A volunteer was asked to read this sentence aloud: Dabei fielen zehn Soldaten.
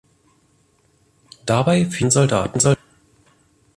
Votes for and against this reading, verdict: 0, 2, rejected